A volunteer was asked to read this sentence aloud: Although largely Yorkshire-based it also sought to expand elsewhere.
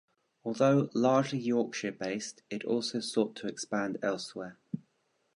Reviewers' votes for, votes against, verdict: 2, 0, accepted